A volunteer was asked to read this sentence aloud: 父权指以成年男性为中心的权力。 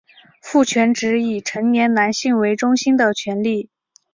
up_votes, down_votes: 4, 0